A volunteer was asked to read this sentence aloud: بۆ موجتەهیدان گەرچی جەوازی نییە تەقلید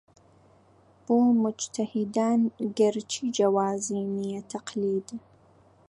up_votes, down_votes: 2, 0